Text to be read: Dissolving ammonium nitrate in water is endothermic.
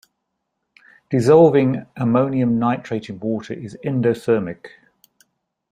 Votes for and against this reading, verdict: 2, 0, accepted